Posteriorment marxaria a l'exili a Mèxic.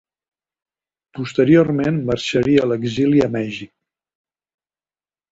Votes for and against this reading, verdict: 2, 1, accepted